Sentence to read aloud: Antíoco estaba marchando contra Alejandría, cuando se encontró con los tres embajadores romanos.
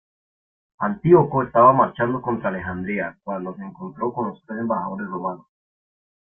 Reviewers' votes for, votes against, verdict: 2, 0, accepted